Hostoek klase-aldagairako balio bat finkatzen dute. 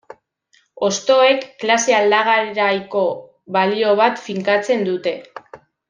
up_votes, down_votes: 0, 2